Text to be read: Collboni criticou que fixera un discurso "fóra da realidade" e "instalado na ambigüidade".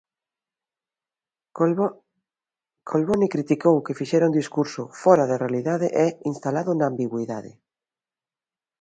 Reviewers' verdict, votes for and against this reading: rejected, 0, 2